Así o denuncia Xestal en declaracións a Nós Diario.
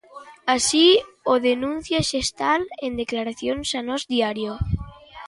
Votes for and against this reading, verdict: 2, 0, accepted